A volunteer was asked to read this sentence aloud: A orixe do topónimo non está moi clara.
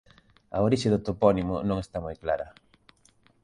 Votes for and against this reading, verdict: 2, 0, accepted